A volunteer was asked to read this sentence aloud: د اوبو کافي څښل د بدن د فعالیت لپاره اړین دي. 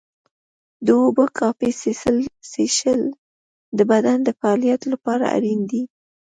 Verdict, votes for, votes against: rejected, 0, 2